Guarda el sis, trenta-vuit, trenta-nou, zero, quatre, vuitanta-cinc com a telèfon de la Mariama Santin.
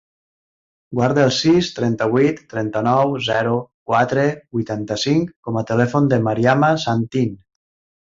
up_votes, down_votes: 0, 2